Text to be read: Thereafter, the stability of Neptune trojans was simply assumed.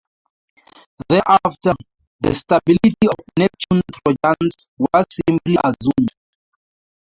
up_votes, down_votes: 2, 0